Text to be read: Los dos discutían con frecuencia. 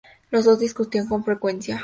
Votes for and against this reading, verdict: 2, 0, accepted